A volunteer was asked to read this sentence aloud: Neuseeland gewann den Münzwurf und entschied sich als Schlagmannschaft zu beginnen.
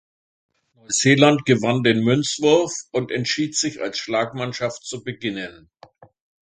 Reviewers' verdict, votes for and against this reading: rejected, 1, 2